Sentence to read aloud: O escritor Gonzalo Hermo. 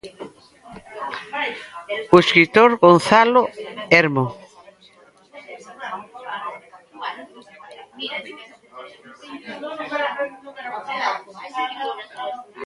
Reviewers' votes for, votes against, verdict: 1, 2, rejected